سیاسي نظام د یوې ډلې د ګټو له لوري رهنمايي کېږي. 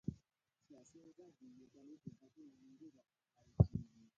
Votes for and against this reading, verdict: 0, 2, rejected